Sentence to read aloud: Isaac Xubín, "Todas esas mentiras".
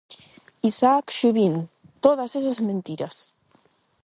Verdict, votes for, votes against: accepted, 8, 0